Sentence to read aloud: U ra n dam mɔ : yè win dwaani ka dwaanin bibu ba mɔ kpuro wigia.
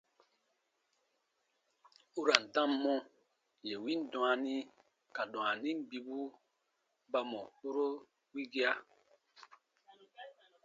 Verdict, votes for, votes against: accepted, 2, 0